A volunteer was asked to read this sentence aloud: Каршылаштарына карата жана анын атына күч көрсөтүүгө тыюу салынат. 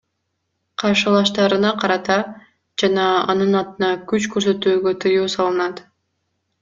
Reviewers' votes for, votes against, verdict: 2, 0, accepted